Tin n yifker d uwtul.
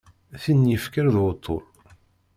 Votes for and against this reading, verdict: 0, 2, rejected